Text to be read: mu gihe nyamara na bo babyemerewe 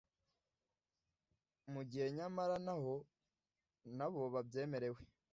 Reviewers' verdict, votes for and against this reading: rejected, 0, 2